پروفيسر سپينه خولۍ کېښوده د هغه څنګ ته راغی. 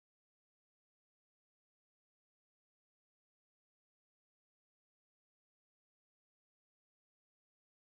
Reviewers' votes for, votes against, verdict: 1, 2, rejected